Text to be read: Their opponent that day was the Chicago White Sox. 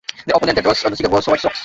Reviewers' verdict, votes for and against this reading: rejected, 0, 2